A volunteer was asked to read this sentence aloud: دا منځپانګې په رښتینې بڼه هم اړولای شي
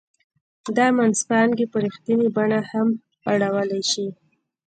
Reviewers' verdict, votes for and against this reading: rejected, 0, 2